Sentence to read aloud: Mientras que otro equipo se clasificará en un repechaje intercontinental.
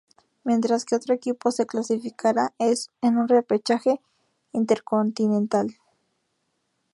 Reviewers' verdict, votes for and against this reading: rejected, 0, 2